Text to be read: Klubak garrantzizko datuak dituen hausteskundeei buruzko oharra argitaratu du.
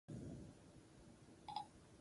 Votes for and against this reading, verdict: 0, 2, rejected